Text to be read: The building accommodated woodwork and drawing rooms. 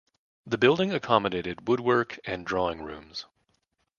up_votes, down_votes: 2, 0